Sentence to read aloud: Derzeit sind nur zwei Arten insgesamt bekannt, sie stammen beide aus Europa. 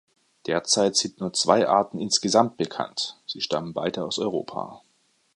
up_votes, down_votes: 2, 0